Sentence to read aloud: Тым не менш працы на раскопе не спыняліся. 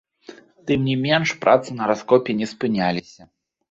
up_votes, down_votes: 2, 1